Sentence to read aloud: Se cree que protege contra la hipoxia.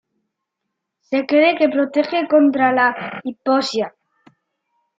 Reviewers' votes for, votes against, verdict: 0, 2, rejected